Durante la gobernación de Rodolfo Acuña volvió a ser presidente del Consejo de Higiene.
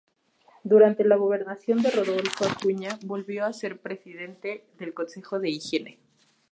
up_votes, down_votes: 2, 0